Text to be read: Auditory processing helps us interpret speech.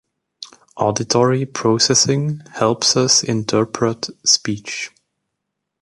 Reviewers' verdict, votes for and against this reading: accepted, 2, 0